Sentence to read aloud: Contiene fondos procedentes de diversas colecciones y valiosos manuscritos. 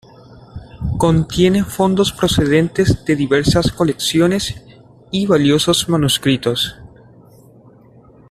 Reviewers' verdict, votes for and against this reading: accepted, 2, 1